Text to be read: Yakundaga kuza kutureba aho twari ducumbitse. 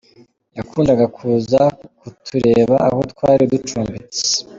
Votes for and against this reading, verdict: 2, 0, accepted